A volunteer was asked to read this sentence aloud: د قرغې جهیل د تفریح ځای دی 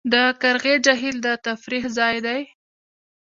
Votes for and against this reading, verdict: 1, 2, rejected